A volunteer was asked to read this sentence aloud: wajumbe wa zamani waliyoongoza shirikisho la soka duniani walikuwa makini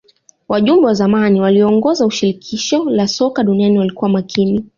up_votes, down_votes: 3, 0